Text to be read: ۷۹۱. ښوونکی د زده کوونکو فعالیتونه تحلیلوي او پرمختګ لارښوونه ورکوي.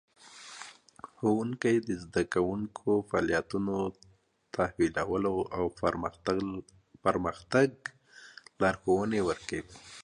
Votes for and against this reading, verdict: 0, 2, rejected